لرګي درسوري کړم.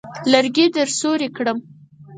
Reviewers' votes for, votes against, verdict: 2, 4, rejected